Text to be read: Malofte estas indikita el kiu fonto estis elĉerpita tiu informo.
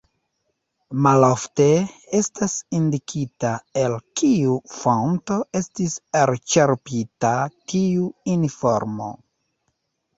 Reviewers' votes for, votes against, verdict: 1, 2, rejected